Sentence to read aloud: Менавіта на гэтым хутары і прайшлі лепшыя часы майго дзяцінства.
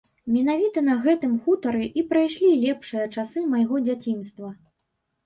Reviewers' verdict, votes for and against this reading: accepted, 2, 0